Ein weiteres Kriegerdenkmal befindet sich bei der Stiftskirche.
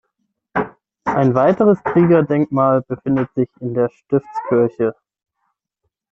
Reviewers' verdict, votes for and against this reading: rejected, 0, 6